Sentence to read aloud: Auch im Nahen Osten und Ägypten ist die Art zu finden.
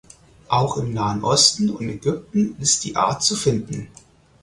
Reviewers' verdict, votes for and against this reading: accepted, 4, 0